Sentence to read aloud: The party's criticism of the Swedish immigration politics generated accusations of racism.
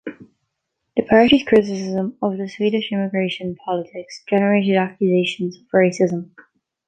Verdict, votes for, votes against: accepted, 2, 0